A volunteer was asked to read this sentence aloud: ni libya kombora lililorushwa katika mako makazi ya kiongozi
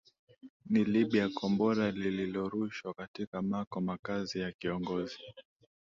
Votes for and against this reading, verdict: 2, 0, accepted